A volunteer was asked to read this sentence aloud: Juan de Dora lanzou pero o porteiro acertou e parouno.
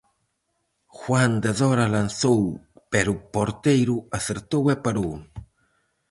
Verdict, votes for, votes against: rejected, 2, 2